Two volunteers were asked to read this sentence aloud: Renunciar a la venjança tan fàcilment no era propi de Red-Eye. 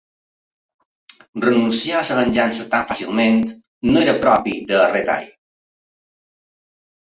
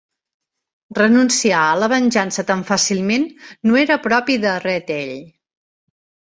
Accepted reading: second